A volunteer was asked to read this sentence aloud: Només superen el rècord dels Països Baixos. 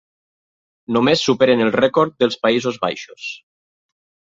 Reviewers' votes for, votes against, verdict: 3, 0, accepted